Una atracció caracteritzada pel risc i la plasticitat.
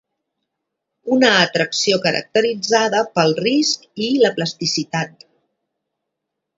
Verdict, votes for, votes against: accepted, 2, 0